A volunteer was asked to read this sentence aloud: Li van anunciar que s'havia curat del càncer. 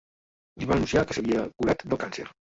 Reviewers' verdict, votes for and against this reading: rejected, 1, 2